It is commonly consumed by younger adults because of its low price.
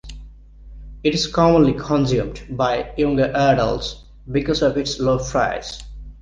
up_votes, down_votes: 1, 2